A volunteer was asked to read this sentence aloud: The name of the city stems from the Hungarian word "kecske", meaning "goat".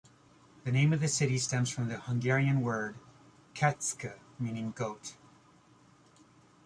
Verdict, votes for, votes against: rejected, 0, 2